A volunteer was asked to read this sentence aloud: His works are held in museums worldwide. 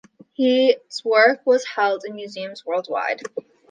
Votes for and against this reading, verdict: 0, 2, rejected